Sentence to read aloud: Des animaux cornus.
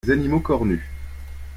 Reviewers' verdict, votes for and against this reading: rejected, 0, 2